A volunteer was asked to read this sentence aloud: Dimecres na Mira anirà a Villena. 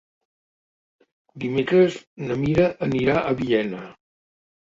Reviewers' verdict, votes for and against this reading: accepted, 2, 0